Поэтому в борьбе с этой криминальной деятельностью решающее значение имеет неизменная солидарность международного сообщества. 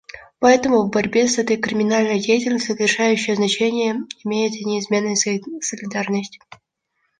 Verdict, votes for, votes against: rejected, 0, 2